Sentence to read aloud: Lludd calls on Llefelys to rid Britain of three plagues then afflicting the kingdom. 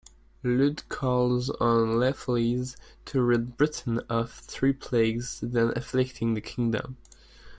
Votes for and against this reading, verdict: 2, 1, accepted